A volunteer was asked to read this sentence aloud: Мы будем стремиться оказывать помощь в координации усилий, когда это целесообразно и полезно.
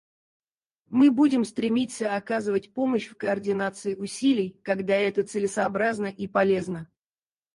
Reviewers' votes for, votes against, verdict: 0, 4, rejected